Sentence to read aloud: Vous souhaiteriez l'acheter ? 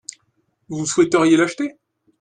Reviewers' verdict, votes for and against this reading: accepted, 2, 0